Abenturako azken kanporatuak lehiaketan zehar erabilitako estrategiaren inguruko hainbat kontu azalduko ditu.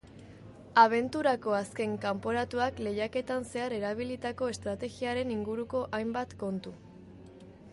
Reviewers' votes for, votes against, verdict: 1, 2, rejected